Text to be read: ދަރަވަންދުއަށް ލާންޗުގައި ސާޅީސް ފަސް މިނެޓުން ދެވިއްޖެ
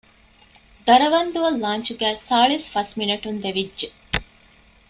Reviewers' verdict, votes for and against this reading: accepted, 2, 0